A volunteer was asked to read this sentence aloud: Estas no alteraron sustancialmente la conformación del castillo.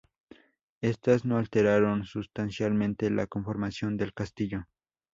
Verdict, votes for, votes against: accepted, 2, 0